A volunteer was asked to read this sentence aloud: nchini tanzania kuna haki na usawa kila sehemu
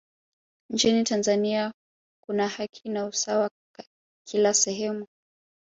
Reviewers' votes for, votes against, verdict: 2, 0, accepted